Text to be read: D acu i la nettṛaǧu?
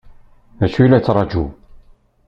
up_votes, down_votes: 1, 2